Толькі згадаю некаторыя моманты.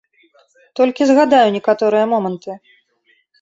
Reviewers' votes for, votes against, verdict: 3, 0, accepted